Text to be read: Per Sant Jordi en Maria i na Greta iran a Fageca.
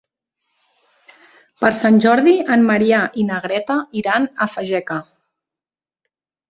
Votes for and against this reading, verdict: 1, 2, rejected